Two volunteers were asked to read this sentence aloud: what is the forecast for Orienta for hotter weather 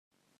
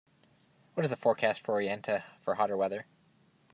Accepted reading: second